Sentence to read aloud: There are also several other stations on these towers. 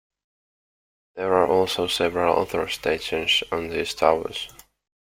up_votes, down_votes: 2, 0